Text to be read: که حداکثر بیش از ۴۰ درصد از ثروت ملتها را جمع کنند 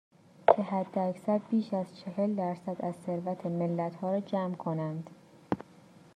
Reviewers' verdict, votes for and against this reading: rejected, 0, 2